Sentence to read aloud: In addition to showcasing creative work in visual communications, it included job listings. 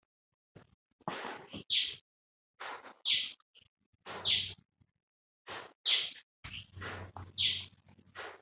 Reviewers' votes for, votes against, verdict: 0, 2, rejected